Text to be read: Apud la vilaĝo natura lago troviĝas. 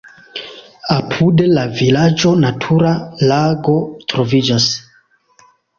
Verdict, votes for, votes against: accepted, 2, 1